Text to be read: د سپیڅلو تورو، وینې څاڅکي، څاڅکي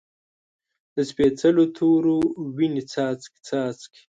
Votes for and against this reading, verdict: 1, 2, rejected